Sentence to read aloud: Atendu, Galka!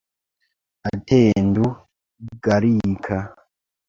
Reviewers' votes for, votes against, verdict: 0, 2, rejected